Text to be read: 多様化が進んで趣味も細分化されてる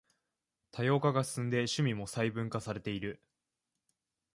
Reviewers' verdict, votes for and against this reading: rejected, 1, 2